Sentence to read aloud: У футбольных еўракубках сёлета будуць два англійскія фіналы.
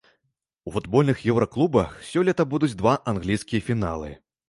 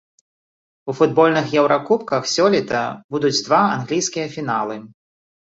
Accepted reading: second